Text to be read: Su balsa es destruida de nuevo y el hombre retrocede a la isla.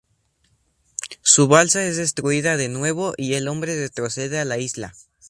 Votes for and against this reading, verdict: 0, 2, rejected